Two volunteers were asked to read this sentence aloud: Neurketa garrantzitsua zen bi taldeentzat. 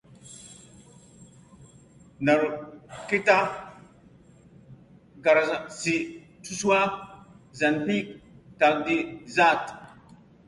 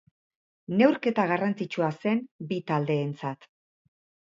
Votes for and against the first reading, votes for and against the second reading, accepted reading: 0, 2, 4, 0, second